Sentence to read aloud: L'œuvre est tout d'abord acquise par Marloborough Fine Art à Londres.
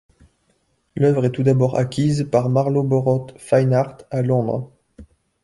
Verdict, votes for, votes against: accepted, 2, 0